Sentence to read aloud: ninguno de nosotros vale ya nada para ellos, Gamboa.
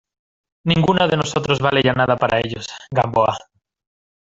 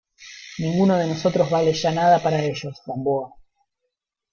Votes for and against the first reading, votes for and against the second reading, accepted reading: 2, 0, 1, 2, first